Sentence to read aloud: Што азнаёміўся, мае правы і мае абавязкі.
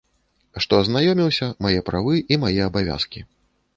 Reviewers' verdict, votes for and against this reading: accepted, 2, 0